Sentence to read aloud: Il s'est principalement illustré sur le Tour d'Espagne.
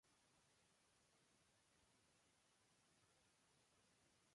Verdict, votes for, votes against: rejected, 0, 2